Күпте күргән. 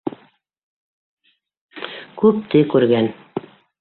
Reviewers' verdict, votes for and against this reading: rejected, 1, 2